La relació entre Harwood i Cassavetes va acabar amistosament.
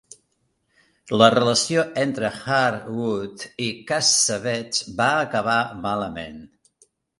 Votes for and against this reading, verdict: 0, 2, rejected